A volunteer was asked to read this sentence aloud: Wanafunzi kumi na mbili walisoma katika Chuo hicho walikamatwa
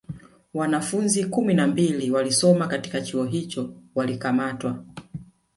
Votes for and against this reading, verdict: 1, 2, rejected